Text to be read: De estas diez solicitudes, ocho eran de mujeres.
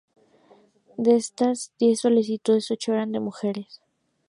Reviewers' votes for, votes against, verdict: 2, 0, accepted